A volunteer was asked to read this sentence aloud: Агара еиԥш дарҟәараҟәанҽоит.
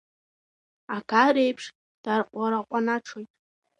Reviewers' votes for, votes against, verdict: 1, 2, rejected